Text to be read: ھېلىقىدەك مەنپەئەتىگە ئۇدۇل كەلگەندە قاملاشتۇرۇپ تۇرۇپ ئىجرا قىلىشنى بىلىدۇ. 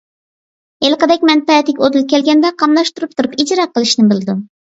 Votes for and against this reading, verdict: 2, 0, accepted